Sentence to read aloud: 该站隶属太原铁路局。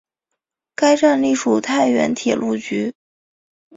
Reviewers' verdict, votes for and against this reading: accepted, 2, 0